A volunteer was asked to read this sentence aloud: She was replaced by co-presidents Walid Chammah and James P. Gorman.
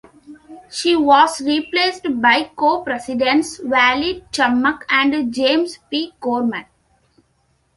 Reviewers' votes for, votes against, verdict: 2, 1, accepted